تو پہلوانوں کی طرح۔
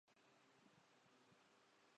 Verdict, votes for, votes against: rejected, 0, 2